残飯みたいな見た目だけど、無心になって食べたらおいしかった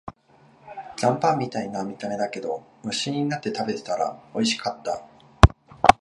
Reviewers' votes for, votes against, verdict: 2, 3, rejected